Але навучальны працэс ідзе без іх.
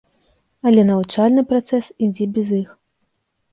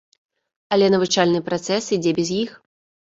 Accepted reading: first